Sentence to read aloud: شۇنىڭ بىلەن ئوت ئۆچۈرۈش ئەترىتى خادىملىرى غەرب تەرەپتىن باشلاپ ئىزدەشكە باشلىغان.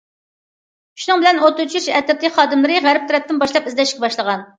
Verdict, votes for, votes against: accepted, 2, 1